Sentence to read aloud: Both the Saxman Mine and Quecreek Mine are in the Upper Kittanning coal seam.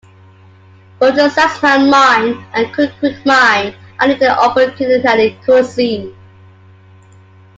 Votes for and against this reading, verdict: 1, 2, rejected